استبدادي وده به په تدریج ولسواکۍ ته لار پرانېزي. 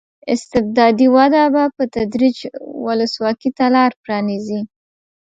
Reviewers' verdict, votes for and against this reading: accepted, 2, 0